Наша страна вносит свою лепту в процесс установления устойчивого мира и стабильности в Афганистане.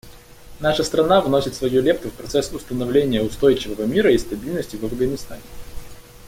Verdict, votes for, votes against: accepted, 2, 0